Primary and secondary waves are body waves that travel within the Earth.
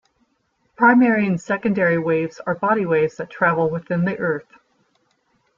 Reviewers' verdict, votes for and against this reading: accepted, 2, 0